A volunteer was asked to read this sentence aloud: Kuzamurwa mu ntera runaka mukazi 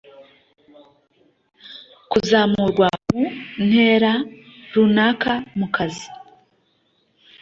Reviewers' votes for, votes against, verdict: 0, 2, rejected